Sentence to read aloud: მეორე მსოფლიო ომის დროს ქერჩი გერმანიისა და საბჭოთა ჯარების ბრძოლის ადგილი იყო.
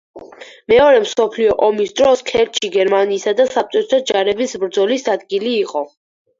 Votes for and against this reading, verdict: 4, 0, accepted